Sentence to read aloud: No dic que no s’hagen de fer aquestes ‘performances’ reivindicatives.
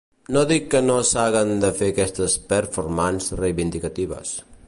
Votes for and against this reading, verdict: 1, 2, rejected